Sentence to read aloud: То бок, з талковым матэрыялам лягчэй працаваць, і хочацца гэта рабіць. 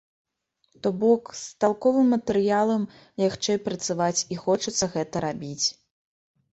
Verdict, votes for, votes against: accepted, 2, 0